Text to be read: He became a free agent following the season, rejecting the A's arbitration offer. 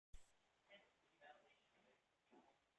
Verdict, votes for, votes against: rejected, 0, 2